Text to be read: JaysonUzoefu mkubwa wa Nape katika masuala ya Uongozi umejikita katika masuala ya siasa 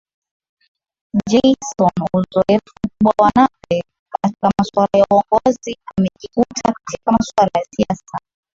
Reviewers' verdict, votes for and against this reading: accepted, 10, 6